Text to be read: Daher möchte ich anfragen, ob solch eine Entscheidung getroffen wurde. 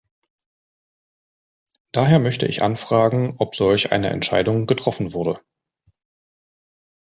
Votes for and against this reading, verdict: 2, 0, accepted